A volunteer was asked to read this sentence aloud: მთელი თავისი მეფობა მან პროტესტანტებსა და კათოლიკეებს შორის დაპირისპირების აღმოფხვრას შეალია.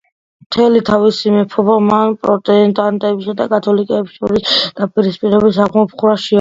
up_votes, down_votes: 1, 2